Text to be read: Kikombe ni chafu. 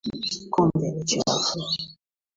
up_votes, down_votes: 2, 1